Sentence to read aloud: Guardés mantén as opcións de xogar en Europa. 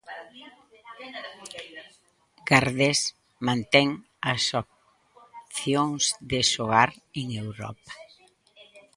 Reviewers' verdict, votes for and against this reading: rejected, 0, 3